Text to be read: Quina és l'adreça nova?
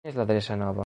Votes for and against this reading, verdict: 1, 3, rejected